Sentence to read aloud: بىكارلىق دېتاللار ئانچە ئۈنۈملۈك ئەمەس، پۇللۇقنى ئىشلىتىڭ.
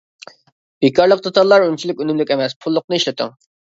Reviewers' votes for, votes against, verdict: 0, 2, rejected